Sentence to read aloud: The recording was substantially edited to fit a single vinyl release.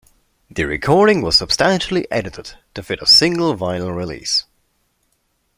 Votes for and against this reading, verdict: 2, 0, accepted